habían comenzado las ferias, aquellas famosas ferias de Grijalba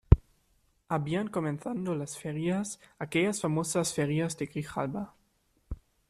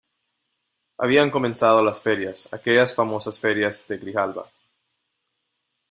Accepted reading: second